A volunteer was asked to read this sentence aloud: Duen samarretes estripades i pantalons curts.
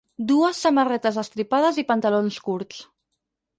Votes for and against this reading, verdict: 2, 4, rejected